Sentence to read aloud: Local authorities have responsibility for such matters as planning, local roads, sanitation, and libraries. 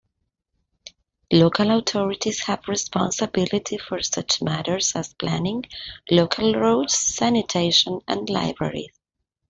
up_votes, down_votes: 2, 1